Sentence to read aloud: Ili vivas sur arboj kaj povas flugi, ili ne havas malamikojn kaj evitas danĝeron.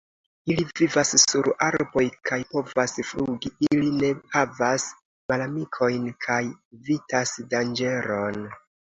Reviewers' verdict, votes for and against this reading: accepted, 2, 0